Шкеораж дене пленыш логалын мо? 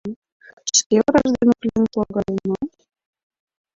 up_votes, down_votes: 0, 3